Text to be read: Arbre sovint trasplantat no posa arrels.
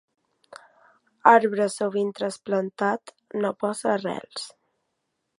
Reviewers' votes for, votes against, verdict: 2, 0, accepted